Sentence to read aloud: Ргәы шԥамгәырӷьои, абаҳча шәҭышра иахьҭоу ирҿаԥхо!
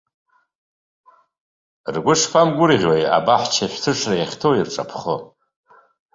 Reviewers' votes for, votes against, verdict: 2, 0, accepted